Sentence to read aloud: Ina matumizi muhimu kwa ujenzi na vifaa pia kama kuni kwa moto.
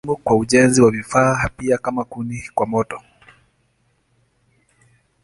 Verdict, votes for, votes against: rejected, 1, 3